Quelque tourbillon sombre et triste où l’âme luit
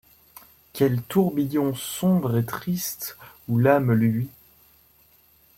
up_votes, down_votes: 1, 2